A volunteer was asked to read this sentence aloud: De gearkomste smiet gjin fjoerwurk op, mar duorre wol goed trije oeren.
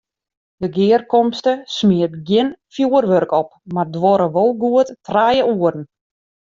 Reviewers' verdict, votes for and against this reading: accepted, 2, 0